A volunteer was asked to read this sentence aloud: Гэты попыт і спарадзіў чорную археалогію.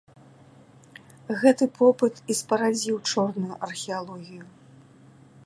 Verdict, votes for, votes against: accepted, 2, 0